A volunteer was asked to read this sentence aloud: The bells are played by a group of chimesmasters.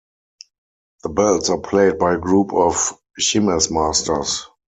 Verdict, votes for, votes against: rejected, 0, 4